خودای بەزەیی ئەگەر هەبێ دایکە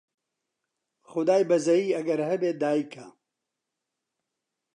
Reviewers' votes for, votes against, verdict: 2, 0, accepted